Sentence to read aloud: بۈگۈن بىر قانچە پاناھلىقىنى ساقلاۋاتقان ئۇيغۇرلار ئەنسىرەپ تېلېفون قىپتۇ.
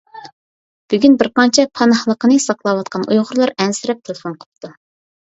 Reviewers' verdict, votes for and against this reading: accepted, 2, 0